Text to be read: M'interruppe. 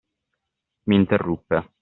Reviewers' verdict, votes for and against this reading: accepted, 2, 0